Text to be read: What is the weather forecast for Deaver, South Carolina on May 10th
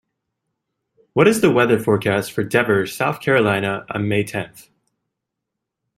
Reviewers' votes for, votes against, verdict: 0, 2, rejected